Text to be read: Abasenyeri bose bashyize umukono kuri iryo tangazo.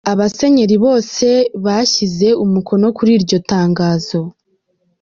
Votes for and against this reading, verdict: 1, 2, rejected